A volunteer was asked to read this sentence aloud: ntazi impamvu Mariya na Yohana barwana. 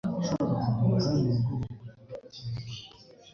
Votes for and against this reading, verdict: 2, 3, rejected